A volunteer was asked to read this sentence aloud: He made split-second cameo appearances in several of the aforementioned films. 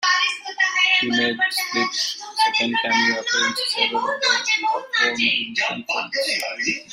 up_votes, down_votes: 0, 2